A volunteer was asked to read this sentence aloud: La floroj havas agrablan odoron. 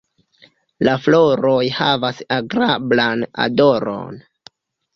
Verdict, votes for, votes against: rejected, 0, 2